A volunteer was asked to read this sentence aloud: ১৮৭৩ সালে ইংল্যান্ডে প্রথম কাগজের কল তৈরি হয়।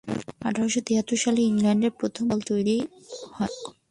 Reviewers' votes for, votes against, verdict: 0, 2, rejected